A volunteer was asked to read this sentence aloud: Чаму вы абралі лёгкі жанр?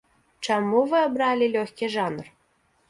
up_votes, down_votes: 2, 0